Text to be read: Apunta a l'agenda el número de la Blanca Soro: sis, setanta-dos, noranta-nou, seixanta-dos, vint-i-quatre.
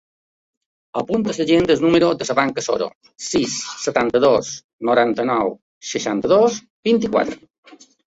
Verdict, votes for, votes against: rejected, 1, 2